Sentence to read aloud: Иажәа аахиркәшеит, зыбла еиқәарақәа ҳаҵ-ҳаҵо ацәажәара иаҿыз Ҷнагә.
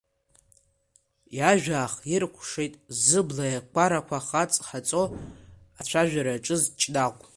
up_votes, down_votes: 2, 1